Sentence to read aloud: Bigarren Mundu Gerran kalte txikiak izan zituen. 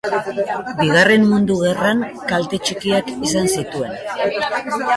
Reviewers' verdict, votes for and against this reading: accepted, 4, 2